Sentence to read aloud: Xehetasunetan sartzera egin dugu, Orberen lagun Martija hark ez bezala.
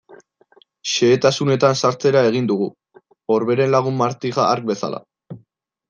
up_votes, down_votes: 2, 3